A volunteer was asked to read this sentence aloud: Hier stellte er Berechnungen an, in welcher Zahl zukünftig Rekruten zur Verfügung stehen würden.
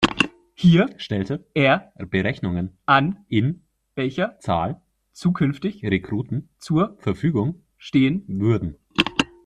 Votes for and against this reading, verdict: 2, 1, accepted